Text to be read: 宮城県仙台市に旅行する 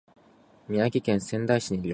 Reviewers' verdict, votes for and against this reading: rejected, 0, 2